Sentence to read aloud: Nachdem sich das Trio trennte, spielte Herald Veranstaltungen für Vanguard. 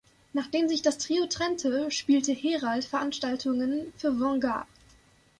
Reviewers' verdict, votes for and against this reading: accepted, 2, 0